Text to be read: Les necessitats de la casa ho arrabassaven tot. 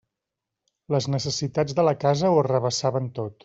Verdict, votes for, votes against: accepted, 2, 0